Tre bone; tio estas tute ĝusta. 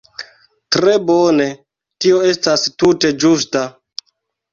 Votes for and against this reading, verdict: 1, 2, rejected